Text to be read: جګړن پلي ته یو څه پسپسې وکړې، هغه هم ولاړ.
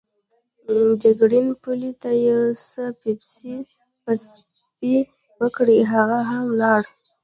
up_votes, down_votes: 0, 2